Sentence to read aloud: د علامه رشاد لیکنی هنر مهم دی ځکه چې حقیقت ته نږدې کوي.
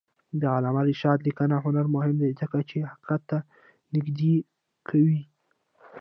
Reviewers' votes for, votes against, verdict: 1, 2, rejected